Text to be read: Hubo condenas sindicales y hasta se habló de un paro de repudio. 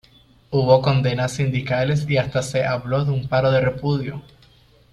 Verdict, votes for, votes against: accepted, 2, 0